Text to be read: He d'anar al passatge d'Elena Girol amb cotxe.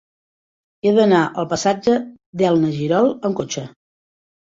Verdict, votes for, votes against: rejected, 0, 2